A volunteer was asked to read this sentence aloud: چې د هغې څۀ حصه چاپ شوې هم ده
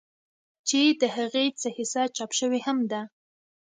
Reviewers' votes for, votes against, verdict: 2, 0, accepted